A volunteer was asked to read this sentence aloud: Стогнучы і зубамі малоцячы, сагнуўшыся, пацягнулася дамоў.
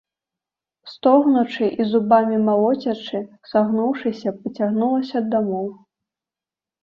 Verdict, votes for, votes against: accepted, 2, 1